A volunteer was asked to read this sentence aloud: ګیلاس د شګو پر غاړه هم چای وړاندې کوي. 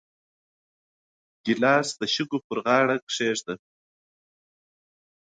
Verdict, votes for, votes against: rejected, 1, 2